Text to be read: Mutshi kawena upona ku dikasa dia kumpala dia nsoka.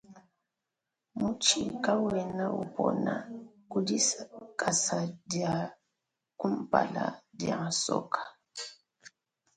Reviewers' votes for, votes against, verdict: 0, 2, rejected